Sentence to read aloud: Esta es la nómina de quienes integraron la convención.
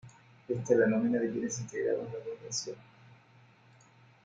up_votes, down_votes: 0, 2